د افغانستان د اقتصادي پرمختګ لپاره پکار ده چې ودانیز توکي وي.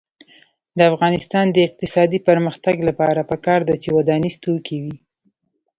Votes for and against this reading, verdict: 2, 1, accepted